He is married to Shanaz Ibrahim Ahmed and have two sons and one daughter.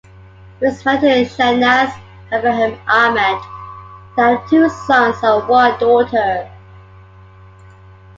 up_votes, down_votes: 2, 1